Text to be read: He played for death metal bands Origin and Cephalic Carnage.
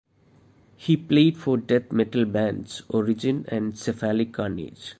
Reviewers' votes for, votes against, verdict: 0, 2, rejected